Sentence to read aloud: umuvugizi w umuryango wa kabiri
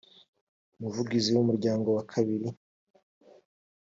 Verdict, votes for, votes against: accepted, 3, 0